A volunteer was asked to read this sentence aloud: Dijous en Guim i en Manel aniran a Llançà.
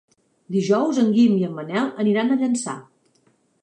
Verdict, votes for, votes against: accepted, 2, 0